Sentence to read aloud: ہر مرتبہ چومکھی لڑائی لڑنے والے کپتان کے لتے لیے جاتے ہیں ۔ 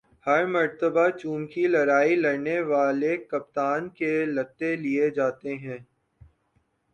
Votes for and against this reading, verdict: 3, 1, accepted